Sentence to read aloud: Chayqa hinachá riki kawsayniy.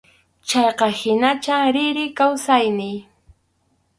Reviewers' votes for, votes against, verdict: 2, 2, rejected